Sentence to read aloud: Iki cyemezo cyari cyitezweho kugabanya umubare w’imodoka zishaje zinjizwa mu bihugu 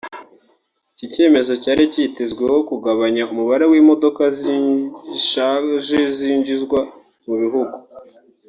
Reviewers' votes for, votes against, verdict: 0, 2, rejected